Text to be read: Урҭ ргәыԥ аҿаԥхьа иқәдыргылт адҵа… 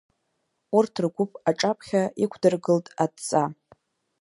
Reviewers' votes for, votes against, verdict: 2, 0, accepted